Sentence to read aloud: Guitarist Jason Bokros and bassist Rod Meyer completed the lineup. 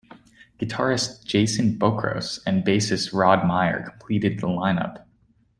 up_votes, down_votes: 2, 0